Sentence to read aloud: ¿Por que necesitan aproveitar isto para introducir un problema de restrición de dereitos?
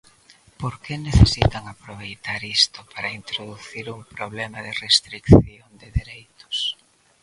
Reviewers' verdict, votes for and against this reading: rejected, 1, 2